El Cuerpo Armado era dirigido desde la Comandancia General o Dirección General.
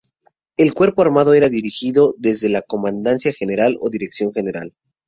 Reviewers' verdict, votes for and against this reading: accepted, 2, 0